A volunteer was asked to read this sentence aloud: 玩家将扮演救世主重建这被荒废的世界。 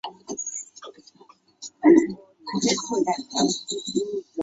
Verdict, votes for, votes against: rejected, 0, 2